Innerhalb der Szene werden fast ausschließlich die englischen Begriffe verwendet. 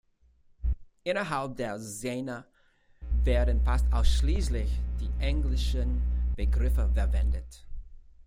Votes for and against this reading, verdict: 2, 0, accepted